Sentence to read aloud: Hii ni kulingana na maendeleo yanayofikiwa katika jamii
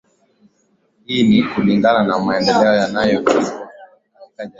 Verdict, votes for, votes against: rejected, 1, 3